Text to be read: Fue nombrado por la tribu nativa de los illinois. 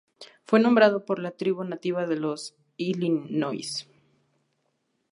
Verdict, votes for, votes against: accepted, 2, 0